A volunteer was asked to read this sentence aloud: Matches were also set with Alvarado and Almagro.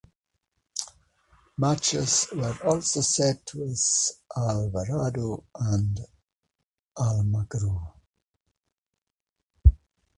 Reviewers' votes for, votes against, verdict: 1, 2, rejected